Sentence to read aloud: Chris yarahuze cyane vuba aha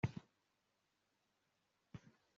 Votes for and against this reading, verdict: 2, 3, rejected